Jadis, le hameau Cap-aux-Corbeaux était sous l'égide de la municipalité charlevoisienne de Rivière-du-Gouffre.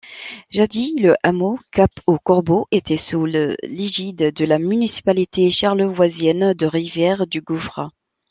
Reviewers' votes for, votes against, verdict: 0, 2, rejected